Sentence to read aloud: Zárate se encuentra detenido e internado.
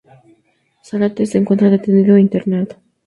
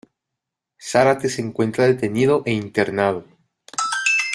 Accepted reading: first